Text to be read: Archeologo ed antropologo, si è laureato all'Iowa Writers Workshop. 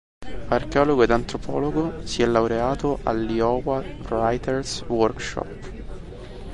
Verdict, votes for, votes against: rejected, 0, 2